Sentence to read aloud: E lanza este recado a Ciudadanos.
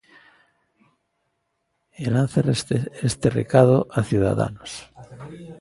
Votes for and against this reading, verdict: 1, 2, rejected